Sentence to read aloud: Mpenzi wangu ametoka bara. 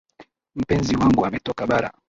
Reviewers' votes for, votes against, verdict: 0, 2, rejected